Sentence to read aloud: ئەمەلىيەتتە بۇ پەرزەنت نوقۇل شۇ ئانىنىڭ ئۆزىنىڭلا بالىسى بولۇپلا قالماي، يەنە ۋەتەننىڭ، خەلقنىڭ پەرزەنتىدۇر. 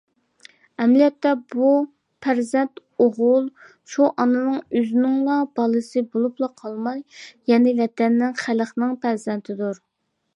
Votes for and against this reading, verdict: 0, 2, rejected